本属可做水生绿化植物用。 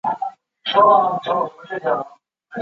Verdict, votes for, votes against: rejected, 0, 2